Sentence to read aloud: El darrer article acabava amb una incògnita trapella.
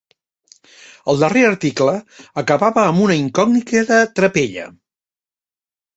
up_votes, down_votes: 0, 2